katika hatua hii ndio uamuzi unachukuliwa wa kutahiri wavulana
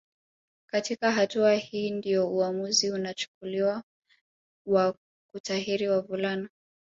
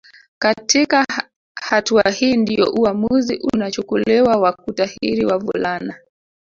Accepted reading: first